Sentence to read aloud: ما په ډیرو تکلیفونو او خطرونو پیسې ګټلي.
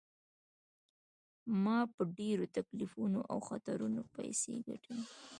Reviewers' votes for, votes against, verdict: 2, 1, accepted